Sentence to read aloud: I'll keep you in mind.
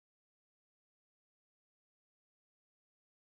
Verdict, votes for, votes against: rejected, 0, 2